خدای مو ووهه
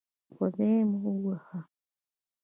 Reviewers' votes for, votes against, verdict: 1, 2, rejected